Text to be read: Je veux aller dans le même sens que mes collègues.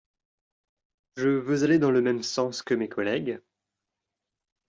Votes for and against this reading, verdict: 1, 2, rejected